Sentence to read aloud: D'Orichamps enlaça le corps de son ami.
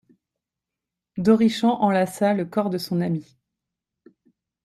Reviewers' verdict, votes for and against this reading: accepted, 2, 1